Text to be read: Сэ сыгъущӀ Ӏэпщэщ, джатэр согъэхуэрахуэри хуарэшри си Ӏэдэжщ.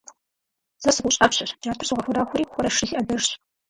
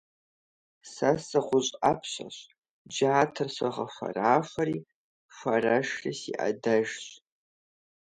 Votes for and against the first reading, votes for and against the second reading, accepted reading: 0, 4, 2, 0, second